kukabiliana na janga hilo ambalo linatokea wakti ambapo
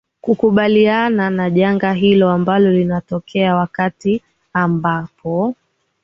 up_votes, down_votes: 3, 0